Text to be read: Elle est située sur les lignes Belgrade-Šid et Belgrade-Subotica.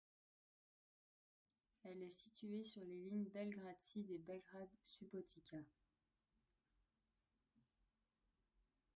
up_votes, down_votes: 1, 2